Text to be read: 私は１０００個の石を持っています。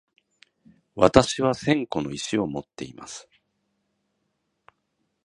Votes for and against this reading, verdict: 0, 2, rejected